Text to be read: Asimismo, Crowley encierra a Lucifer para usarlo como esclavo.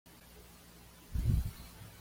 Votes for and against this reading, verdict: 1, 2, rejected